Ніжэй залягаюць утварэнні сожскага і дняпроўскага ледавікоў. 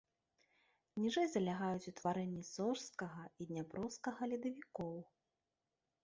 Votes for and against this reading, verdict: 3, 0, accepted